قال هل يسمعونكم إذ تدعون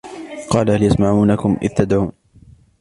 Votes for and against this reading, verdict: 1, 2, rejected